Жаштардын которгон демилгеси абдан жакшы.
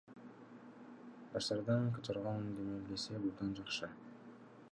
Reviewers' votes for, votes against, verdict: 2, 0, accepted